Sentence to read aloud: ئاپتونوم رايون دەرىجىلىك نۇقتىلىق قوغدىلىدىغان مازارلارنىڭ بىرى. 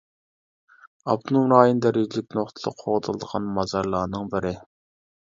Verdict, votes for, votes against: rejected, 0, 2